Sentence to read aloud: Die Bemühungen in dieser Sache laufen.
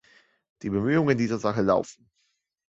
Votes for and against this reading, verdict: 2, 0, accepted